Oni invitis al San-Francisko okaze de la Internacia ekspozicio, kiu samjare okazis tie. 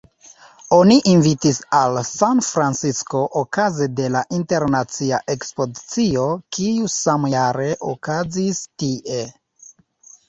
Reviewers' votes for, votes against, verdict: 1, 2, rejected